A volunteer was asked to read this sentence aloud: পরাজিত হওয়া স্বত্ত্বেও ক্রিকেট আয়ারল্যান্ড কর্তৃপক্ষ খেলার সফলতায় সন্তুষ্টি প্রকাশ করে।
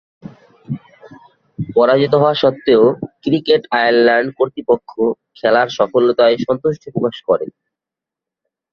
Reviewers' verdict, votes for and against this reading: accepted, 2, 0